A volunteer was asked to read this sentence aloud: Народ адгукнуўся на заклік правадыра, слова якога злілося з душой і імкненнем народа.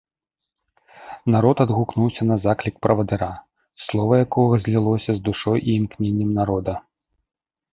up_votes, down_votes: 2, 0